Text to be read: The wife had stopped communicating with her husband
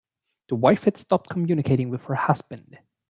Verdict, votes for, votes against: accepted, 2, 0